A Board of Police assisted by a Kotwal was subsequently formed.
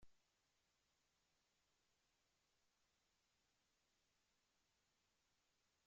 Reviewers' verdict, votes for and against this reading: rejected, 1, 2